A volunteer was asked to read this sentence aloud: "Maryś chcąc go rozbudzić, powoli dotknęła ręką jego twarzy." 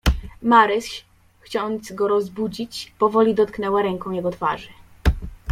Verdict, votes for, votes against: rejected, 1, 2